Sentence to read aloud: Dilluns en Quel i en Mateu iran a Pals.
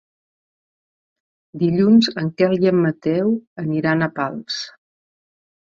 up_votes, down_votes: 0, 2